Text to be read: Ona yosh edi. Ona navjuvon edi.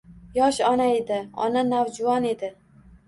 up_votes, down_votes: 1, 2